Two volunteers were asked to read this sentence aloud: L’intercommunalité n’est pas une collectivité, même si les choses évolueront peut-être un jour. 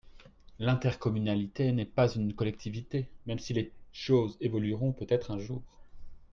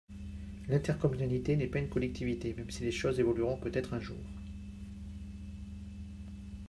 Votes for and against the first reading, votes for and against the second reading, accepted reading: 1, 3, 2, 0, second